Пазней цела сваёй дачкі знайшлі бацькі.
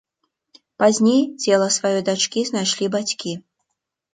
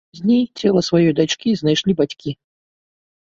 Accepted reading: first